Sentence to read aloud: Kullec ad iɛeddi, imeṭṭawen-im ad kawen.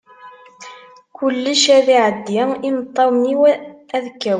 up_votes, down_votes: 0, 2